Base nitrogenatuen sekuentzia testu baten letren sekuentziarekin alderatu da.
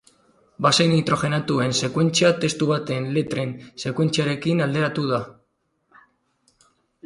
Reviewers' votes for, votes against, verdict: 4, 0, accepted